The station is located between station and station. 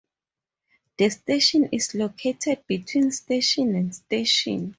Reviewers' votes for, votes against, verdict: 2, 0, accepted